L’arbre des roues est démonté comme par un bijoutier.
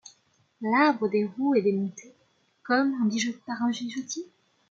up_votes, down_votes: 1, 2